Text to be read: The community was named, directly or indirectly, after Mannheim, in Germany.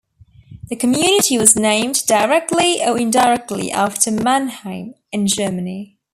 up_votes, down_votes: 3, 0